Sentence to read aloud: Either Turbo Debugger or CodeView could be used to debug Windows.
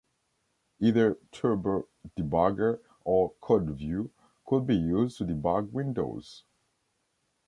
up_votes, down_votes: 2, 0